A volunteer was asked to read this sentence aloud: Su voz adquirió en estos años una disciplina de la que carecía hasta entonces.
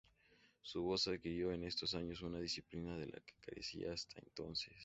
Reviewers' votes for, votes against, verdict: 2, 0, accepted